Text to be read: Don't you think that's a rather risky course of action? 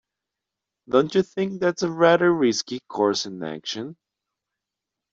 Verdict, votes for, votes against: rejected, 1, 2